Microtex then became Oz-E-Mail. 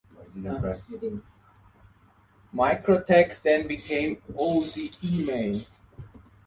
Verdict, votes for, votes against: rejected, 1, 2